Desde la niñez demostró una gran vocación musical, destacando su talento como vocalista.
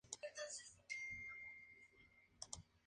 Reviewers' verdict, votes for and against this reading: rejected, 0, 4